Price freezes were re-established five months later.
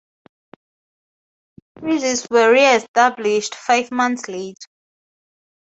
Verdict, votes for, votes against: rejected, 0, 4